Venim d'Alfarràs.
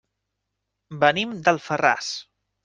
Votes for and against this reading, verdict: 3, 0, accepted